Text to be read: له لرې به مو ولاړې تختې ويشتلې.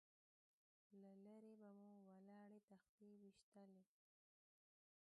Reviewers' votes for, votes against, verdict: 1, 2, rejected